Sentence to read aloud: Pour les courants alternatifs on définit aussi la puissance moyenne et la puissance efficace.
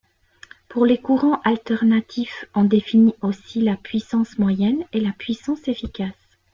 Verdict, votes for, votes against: accepted, 2, 0